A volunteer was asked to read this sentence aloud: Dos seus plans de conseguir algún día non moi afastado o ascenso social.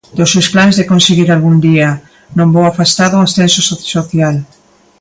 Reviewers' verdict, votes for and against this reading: rejected, 0, 2